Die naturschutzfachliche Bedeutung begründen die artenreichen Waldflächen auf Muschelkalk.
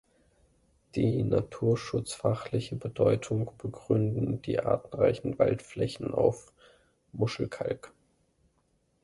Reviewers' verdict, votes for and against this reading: accepted, 2, 1